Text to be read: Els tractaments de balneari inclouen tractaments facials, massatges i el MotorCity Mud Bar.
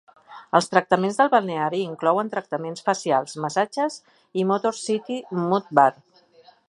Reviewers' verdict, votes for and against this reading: rejected, 0, 2